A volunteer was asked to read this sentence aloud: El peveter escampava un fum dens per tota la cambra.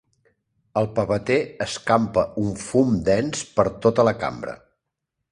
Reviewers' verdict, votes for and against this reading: rejected, 1, 2